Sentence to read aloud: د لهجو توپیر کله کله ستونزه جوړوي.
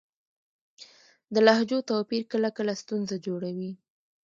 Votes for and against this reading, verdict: 0, 2, rejected